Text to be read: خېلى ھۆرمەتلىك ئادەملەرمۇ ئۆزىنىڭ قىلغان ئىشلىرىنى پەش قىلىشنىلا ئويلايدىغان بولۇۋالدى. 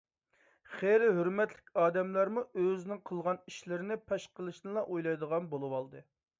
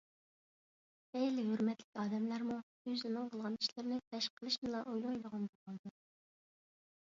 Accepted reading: first